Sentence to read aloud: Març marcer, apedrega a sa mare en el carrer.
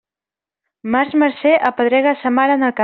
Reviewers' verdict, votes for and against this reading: rejected, 0, 2